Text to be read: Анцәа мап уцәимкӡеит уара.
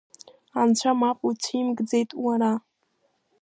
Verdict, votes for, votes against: accepted, 2, 1